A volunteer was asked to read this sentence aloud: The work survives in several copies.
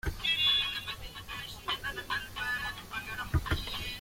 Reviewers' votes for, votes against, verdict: 0, 2, rejected